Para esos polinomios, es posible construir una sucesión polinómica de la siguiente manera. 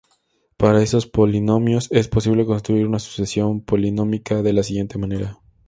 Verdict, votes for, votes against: accepted, 2, 0